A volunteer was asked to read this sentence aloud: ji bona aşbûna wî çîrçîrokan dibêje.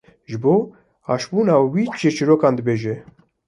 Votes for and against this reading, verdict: 2, 0, accepted